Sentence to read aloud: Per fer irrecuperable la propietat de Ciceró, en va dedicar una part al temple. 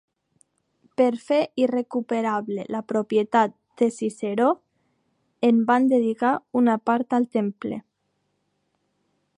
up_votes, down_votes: 1, 2